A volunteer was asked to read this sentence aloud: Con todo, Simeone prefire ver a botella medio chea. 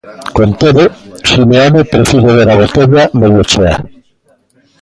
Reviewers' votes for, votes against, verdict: 0, 2, rejected